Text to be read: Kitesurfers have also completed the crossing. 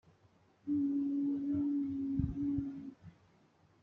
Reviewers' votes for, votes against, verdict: 0, 2, rejected